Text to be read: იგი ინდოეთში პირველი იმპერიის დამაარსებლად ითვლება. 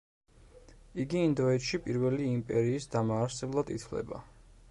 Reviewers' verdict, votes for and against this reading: accepted, 2, 0